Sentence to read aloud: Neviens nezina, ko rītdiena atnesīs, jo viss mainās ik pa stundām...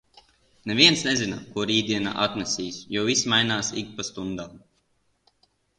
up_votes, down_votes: 2, 0